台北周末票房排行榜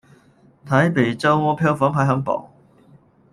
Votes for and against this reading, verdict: 0, 2, rejected